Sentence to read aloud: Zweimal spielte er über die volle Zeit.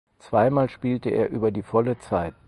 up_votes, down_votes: 4, 0